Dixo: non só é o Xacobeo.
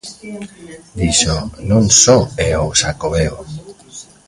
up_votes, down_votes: 1, 2